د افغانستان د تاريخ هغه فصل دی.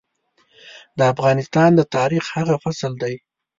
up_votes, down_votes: 2, 0